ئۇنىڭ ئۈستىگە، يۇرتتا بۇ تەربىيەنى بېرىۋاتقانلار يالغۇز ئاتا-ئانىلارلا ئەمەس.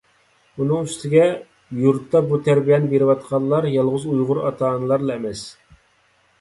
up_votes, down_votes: 1, 2